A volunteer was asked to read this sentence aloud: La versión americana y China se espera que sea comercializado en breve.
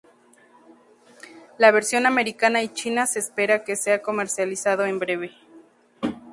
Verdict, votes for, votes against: accepted, 2, 0